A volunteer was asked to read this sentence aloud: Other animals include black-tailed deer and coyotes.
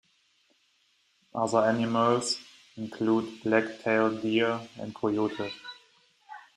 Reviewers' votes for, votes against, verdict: 0, 2, rejected